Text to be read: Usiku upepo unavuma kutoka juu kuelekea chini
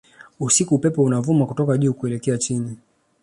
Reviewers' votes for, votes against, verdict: 2, 0, accepted